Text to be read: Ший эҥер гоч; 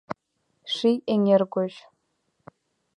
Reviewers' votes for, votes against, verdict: 2, 1, accepted